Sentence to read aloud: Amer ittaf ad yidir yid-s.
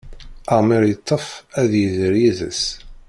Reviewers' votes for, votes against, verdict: 1, 2, rejected